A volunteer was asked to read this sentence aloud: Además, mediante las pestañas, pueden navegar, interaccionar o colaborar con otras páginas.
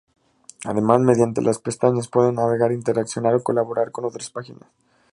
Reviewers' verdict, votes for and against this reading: accepted, 2, 0